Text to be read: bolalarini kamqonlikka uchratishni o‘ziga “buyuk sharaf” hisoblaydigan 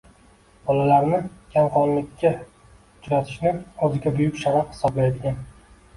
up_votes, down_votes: 1, 2